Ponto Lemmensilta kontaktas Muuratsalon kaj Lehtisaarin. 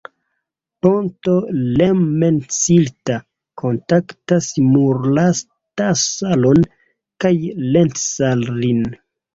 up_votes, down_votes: 0, 2